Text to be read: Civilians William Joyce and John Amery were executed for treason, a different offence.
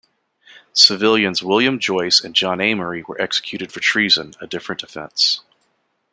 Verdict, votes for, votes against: accepted, 2, 0